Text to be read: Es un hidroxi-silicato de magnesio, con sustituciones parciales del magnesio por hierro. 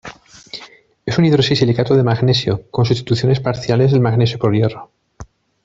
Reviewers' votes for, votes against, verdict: 1, 2, rejected